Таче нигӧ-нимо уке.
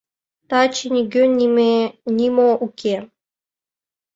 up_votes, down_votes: 0, 2